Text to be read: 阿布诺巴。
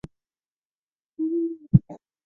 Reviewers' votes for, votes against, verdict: 0, 2, rejected